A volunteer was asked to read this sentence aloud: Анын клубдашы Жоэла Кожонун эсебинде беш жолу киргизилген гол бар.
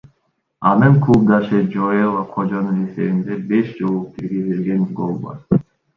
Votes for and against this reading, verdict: 2, 0, accepted